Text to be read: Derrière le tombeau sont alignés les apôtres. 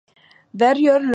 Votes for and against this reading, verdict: 0, 2, rejected